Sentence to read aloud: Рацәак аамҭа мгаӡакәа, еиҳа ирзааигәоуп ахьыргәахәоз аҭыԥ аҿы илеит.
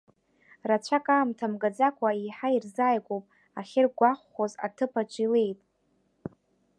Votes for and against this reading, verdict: 2, 0, accepted